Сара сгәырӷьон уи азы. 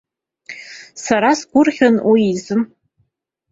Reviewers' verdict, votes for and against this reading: accepted, 2, 0